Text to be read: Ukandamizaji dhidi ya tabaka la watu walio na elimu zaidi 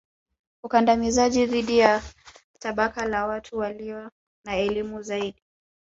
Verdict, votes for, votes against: rejected, 1, 2